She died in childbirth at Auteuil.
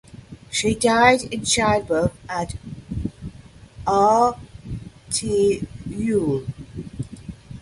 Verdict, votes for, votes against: rejected, 0, 2